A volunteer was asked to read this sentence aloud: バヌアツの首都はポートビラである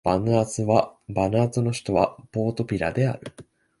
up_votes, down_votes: 0, 2